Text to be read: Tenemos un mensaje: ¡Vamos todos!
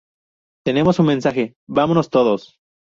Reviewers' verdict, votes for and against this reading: rejected, 0, 2